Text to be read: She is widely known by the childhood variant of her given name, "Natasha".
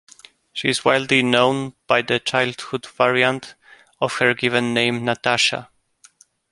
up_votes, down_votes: 2, 0